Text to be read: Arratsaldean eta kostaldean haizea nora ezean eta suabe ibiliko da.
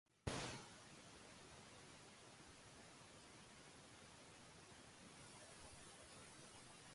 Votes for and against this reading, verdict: 0, 3, rejected